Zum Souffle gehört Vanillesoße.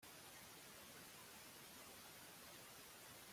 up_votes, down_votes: 0, 2